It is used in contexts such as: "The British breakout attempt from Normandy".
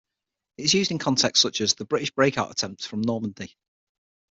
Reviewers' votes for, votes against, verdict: 6, 0, accepted